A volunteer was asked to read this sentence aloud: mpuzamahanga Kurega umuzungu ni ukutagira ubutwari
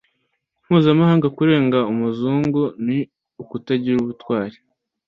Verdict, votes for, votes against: rejected, 1, 2